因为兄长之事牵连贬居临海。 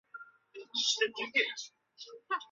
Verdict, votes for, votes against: rejected, 0, 2